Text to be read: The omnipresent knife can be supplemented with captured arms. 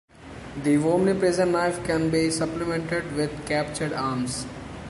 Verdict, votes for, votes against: accepted, 2, 1